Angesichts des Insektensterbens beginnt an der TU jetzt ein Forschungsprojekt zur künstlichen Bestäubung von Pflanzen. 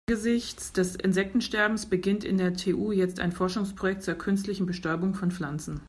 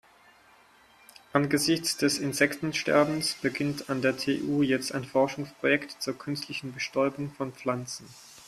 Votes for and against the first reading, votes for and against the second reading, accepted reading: 0, 2, 4, 0, second